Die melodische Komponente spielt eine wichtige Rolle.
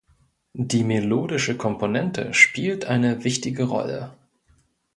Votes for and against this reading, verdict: 2, 0, accepted